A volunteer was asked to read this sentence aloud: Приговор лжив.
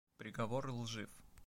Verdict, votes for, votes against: accepted, 2, 0